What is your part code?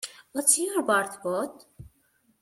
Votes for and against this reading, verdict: 0, 2, rejected